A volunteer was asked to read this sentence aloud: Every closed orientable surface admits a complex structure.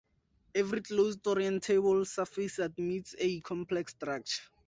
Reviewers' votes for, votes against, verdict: 2, 0, accepted